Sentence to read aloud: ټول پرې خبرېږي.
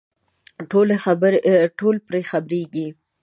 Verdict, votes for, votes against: rejected, 1, 2